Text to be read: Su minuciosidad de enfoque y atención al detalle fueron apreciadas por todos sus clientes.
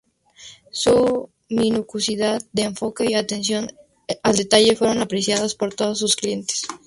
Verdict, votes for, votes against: rejected, 0, 2